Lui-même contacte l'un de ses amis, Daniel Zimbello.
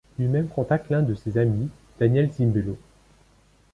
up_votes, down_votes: 2, 0